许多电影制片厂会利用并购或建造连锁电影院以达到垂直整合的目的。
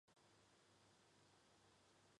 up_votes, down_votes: 1, 5